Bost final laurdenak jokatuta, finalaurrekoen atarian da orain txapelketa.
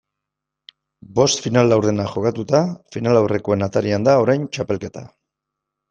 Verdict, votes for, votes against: accepted, 2, 0